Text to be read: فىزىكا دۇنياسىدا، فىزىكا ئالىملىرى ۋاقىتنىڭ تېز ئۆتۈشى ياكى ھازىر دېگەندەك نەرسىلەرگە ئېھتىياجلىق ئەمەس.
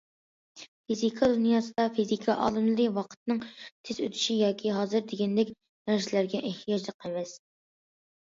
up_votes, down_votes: 2, 0